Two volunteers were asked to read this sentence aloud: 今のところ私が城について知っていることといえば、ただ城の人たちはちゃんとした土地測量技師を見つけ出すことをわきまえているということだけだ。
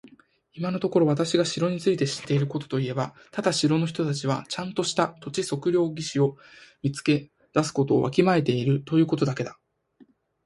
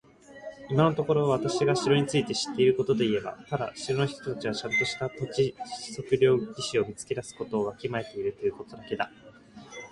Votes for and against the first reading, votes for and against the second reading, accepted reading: 2, 0, 2, 3, first